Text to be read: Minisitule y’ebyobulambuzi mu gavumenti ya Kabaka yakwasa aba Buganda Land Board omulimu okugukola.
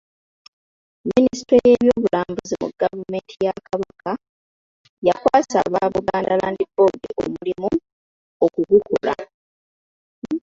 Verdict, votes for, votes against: rejected, 1, 2